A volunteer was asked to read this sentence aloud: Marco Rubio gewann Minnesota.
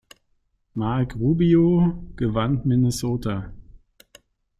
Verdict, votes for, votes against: rejected, 1, 2